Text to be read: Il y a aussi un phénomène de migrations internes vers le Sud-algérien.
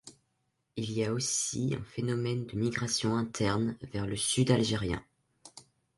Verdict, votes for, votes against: accepted, 3, 0